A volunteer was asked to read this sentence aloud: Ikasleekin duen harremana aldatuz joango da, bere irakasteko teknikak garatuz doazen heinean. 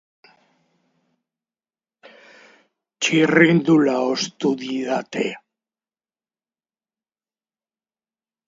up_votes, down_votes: 2, 0